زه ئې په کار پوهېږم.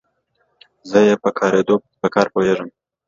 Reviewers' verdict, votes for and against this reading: rejected, 0, 2